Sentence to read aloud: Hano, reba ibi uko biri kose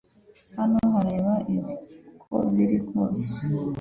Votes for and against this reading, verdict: 2, 0, accepted